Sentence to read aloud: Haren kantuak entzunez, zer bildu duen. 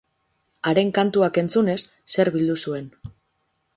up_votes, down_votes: 2, 2